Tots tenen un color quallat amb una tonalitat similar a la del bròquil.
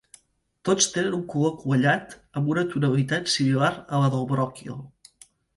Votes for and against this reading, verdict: 2, 0, accepted